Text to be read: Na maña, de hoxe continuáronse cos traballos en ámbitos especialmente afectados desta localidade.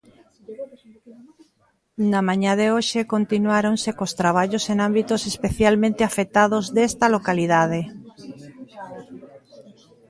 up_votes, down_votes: 0, 2